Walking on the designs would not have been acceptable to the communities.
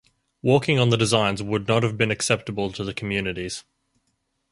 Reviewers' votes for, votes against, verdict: 4, 0, accepted